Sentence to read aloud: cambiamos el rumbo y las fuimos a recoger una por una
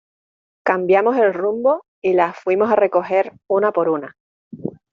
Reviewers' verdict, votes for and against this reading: accepted, 2, 1